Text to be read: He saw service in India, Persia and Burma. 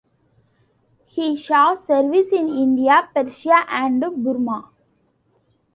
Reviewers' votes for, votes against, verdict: 2, 0, accepted